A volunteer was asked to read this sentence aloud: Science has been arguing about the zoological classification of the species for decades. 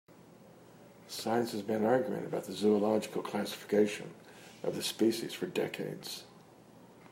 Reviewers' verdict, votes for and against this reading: accepted, 3, 0